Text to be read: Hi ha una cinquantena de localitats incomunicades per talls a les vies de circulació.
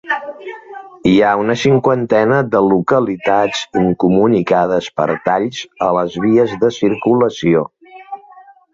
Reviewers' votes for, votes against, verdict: 3, 0, accepted